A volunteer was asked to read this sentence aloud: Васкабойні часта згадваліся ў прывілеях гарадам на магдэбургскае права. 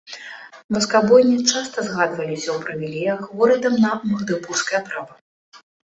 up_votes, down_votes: 1, 2